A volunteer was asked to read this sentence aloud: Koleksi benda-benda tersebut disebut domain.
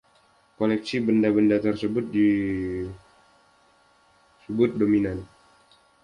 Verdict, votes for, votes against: rejected, 0, 2